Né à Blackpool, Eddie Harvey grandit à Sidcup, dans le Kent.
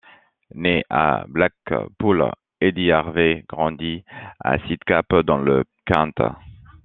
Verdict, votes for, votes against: rejected, 1, 2